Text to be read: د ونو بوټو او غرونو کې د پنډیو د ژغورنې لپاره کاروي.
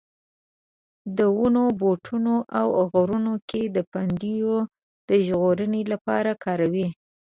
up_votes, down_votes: 1, 2